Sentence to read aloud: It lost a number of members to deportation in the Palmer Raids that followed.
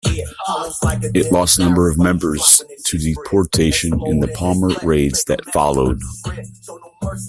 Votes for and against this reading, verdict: 1, 2, rejected